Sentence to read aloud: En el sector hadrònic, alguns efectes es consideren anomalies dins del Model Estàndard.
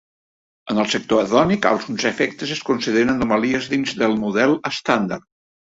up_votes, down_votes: 0, 2